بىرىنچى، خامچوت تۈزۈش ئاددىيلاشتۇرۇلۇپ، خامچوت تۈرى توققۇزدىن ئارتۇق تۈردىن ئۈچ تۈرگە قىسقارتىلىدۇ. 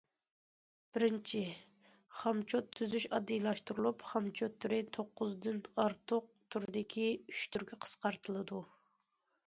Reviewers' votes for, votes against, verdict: 0, 2, rejected